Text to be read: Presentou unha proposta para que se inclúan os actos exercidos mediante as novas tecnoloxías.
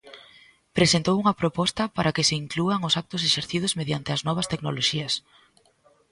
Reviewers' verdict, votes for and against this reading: accepted, 2, 0